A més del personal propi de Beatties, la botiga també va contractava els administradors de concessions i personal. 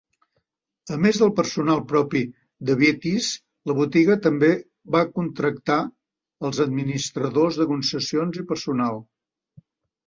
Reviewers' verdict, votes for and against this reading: accepted, 2, 1